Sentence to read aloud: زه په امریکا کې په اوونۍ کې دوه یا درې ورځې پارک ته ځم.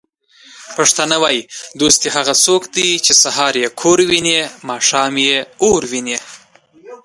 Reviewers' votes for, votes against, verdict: 1, 2, rejected